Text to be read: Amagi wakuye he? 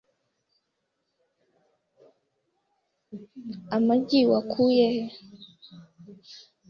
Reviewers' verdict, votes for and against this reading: accepted, 2, 0